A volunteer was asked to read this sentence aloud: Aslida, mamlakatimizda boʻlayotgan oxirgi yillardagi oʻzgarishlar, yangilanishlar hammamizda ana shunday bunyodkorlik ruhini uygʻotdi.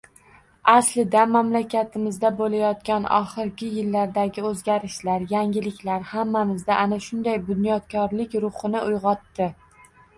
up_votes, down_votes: 1, 2